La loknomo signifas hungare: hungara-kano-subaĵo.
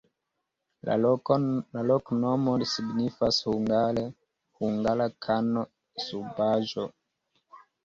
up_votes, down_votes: 2, 0